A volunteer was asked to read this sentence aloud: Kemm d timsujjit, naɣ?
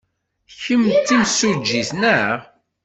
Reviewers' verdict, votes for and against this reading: rejected, 1, 2